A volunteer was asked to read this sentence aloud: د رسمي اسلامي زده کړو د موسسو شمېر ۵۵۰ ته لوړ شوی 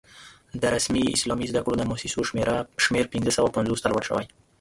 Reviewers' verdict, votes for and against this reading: rejected, 0, 2